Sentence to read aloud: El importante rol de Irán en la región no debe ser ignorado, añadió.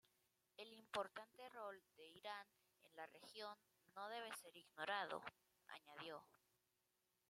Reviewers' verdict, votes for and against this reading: rejected, 0, 2